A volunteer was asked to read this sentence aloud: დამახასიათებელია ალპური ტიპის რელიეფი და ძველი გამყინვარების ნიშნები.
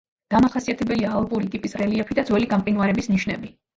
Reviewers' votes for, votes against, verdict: 0, 2, rejected